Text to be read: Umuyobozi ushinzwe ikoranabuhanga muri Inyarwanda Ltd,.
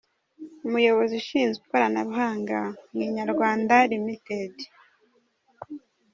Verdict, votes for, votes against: accepted, 2, 0